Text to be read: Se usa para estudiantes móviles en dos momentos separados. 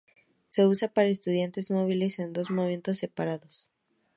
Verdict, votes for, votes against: accepted, 4, 0